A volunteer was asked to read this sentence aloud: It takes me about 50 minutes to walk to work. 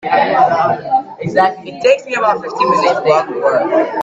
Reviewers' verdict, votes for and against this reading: rejected, 0, 2